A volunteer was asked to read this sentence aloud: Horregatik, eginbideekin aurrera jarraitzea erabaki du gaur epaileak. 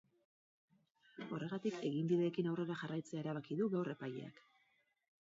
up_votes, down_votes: 2, 2